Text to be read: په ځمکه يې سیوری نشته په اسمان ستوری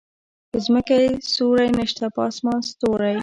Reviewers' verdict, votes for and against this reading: accepted, 2, 0